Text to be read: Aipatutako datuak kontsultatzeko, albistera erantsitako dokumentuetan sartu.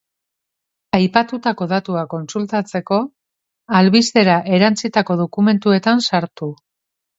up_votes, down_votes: 3, 0